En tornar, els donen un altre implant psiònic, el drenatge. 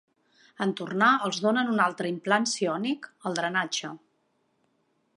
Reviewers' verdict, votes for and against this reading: accepted, 2, 0